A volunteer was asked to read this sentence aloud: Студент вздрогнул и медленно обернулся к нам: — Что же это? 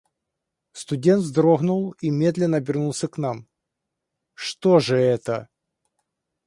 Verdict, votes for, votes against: accepted, 2, 0